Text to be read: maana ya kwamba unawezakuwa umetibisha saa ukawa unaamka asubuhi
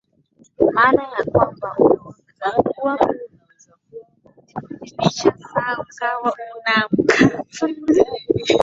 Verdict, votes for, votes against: rejected, 2, 2